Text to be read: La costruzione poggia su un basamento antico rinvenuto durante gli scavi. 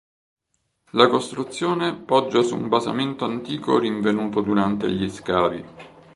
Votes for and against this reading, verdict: 3, 0, accepted